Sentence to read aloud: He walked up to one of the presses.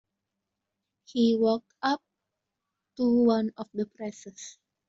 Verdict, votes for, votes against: accepted, 2, 0